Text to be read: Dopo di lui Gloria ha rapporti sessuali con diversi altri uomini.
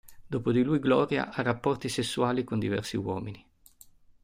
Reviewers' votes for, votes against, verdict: 0, 2, rejected